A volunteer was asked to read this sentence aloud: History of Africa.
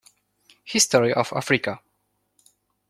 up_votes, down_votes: 2, 0